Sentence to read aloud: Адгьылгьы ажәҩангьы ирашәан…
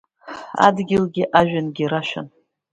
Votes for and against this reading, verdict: 2, 0, accepted